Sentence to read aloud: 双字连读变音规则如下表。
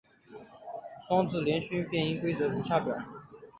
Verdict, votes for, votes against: accepted, 2, 0